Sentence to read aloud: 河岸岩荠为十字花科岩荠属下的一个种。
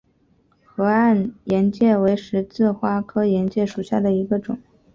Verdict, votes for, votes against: rejected, 0, 2